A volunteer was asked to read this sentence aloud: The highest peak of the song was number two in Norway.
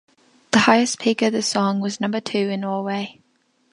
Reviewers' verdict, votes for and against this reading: accepted, 2, 0